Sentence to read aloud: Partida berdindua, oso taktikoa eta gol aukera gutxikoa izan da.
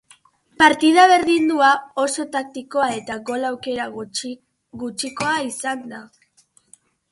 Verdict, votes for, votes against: rejected, 0, 3